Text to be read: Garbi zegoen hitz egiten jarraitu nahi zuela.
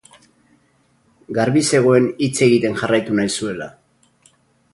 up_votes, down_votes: 0, 2